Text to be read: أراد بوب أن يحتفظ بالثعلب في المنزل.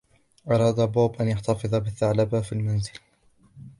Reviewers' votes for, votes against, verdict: 2, 0, accepted